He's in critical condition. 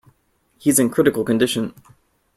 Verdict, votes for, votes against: accepted, 2, 0